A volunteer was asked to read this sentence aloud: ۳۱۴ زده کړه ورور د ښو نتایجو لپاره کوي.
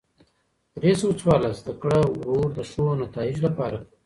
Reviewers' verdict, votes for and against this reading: rejected, 0, 2